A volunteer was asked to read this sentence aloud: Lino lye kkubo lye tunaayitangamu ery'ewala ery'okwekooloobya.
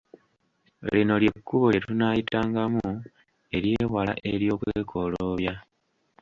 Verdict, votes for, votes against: rejected, 1, 2